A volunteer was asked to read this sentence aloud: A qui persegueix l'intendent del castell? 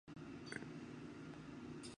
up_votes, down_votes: 0, 3